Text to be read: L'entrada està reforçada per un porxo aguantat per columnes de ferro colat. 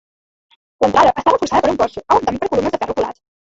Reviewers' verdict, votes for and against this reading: rejected, 0, 2